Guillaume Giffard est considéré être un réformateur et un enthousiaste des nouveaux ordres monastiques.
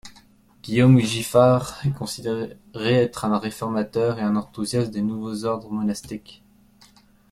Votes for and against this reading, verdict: 0, 2, rejected